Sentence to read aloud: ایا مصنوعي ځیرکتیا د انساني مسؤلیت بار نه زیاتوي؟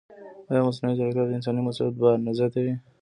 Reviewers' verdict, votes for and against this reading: rejected, 1, 2